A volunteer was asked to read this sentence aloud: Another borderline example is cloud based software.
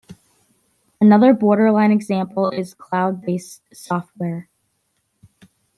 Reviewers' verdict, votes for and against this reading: accepted, 2, 0